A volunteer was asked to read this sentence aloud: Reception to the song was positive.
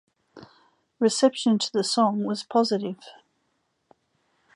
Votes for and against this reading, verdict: 2, 0, accepted